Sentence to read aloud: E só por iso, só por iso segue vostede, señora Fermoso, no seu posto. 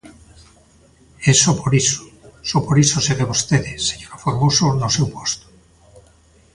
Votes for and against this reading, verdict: 1, 2, rejected